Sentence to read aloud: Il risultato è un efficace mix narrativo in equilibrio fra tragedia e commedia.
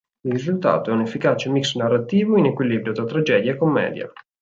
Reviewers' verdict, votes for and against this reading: rejected, 2, 4